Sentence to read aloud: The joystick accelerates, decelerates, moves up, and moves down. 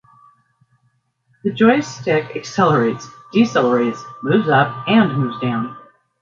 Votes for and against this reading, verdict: 2, 0, accepted